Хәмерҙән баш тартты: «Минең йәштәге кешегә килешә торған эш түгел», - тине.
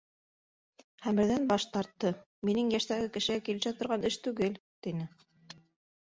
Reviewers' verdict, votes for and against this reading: accepted, 2, 0